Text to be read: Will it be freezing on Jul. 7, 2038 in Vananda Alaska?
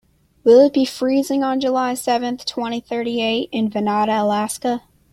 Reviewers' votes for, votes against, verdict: 0, 2, rejected